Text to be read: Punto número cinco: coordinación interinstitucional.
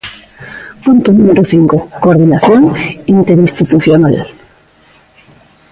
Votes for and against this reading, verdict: 2, 1, accepted